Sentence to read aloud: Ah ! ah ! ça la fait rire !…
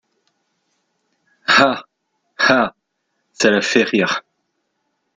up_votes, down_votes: 1, 2